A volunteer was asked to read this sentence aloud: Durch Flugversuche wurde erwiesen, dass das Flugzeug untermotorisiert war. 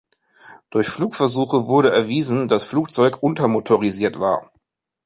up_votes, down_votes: 0, 2